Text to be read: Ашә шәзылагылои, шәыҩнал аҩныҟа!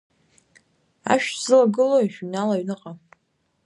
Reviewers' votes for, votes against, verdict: 2, 1, accepted